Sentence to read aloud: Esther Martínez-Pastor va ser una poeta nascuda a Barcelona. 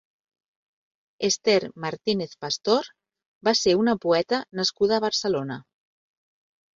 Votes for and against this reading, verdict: 6, 0, accepted